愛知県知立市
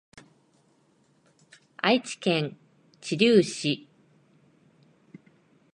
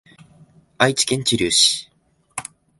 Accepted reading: second